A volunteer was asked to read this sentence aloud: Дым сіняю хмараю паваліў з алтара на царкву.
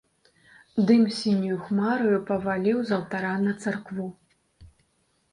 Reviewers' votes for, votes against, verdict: 2, 0, accepted